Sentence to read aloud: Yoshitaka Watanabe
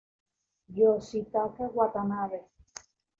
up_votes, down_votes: 2, 1